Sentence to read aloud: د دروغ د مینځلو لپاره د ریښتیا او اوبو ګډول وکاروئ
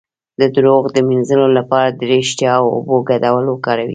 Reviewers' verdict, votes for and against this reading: rejected, 1, 2